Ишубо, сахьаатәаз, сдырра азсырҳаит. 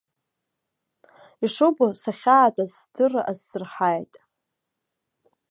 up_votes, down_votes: 2, 0